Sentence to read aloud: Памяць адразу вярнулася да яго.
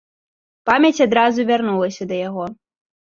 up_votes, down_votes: 2, 0